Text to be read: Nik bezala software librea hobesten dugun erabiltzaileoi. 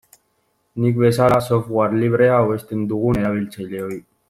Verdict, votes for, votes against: rejected, 1, 2